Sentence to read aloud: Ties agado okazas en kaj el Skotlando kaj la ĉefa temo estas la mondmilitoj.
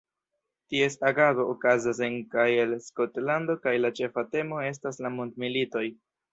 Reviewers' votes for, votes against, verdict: 1, 2, rejected